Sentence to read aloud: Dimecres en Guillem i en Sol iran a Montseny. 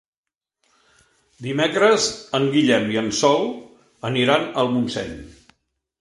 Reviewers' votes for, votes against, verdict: 0, 2, rejected